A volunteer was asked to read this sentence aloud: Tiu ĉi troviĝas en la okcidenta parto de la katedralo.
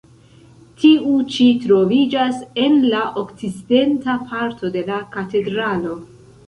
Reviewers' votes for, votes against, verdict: 1, 2, rejected